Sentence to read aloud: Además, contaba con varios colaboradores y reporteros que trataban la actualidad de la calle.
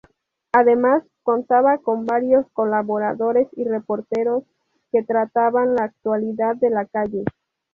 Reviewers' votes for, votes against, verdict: 2, 0, accepted